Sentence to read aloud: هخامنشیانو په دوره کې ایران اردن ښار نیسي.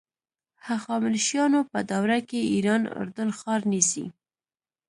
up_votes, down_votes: 1, 2